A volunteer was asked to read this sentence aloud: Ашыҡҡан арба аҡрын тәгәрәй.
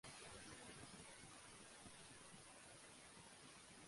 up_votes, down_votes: 0, 2